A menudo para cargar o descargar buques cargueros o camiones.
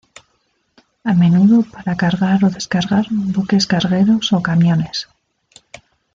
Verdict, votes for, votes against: rejected, 1, 2